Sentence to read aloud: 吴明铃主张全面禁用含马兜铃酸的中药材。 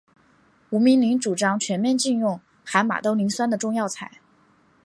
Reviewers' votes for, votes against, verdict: 2, 0, accepted